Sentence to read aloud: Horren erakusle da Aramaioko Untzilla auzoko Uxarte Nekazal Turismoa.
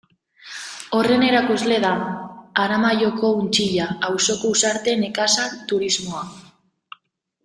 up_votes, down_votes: 2, 0